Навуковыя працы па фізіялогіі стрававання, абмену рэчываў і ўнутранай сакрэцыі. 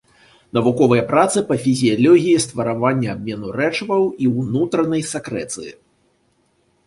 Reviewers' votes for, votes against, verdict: 0, 2, rejected